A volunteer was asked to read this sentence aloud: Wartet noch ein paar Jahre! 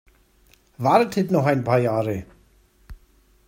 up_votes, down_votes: 2, 0